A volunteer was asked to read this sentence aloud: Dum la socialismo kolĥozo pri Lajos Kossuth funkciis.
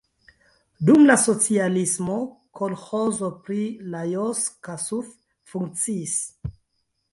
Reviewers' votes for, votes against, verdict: 1, 2, rejected